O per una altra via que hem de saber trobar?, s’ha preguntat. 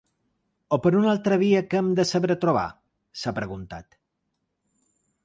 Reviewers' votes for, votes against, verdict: 2, 0, accepted